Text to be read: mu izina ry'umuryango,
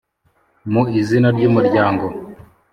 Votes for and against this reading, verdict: 2, 0, accepted